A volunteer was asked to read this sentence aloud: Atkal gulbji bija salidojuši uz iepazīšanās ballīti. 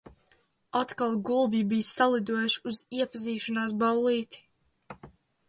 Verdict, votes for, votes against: rejected, 0, 2